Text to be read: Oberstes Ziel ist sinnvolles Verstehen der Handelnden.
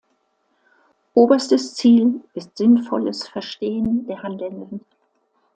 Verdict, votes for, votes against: accepted, 2, 0